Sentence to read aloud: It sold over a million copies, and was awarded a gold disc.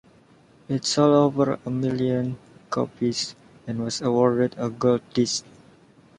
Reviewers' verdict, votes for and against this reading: rejected, 1, 2